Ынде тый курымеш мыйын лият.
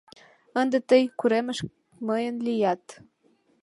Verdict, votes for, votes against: accepted, 2, 1